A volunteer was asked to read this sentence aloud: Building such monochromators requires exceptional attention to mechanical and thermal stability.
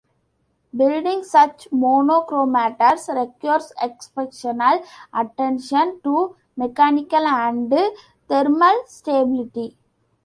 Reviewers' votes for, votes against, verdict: 0, 2, rejected